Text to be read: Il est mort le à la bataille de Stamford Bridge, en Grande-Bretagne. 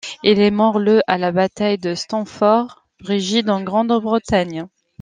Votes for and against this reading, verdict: 1, 2, rejected